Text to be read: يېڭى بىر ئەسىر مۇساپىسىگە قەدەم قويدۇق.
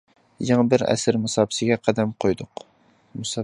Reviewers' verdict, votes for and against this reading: accepted, 2, 0